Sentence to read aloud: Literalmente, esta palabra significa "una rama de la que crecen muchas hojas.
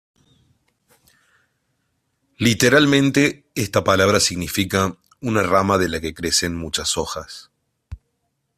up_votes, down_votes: 2, 0